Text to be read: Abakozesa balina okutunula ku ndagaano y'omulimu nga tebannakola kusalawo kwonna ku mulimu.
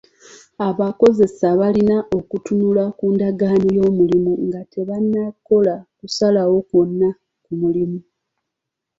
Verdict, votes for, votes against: accepted, 2, 1